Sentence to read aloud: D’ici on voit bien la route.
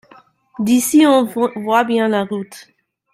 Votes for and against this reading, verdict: 0, 2, rejected